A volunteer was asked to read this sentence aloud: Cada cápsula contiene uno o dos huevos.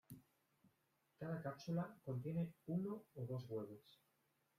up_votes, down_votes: 0, 2